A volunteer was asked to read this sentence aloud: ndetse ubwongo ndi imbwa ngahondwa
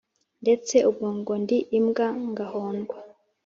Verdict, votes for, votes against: accepted, 2, 0